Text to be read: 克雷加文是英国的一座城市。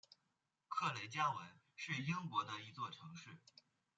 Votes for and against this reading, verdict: 2, 1, accepted